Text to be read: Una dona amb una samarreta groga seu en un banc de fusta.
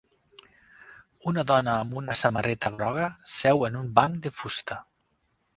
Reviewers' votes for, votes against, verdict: 4, 0, accepted